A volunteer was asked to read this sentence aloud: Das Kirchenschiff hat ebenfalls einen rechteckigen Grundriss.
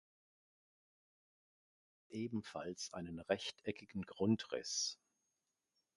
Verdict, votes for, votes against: rejected, 0, 2